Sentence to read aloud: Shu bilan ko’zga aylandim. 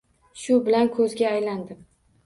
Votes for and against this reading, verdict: 2, 0, accepted